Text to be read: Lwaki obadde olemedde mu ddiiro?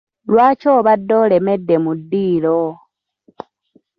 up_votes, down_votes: 0, 2